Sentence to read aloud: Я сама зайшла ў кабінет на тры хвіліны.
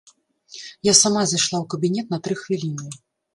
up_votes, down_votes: 2, 0